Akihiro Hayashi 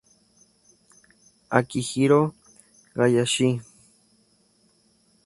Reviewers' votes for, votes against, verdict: 2, 0, accepted